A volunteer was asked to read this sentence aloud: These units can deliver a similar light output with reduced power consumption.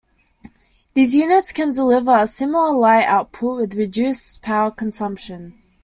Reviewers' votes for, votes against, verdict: 2, 0, accepted